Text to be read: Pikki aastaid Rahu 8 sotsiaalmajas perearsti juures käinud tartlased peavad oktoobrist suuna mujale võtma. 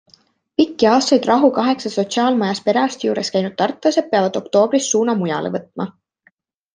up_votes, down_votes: 0, 2